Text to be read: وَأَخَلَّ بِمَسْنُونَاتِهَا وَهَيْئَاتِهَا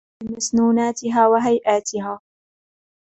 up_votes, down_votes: 1, 2